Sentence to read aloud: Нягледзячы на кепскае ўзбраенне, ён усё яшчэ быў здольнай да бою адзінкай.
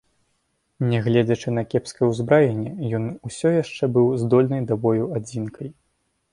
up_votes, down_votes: 1, 2